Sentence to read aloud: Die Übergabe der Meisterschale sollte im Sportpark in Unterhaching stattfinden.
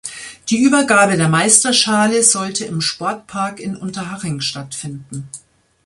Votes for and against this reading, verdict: 2, 0, accepted